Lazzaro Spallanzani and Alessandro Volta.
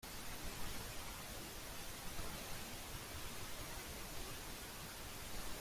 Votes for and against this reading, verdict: 0, 2, rejected